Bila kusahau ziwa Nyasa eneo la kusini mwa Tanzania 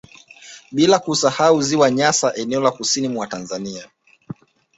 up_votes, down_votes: 2, 0